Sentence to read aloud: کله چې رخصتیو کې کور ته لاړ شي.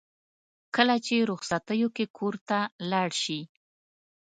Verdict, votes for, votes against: accepted, 2, 0